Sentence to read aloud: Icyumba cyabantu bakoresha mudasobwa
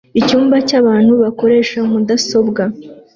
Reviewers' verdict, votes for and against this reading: accepted, 2, 0